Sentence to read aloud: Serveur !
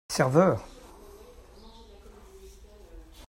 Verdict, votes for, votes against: accepted, 2, 0